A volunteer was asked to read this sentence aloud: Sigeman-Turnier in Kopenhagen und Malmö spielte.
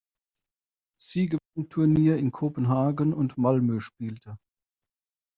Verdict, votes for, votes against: rejected, 1, 2